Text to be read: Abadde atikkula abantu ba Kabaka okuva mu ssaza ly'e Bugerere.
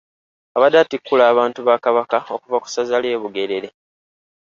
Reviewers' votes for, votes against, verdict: 1, 2, rejected